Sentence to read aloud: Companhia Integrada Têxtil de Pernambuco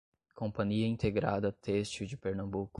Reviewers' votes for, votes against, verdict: 2, 0, accepted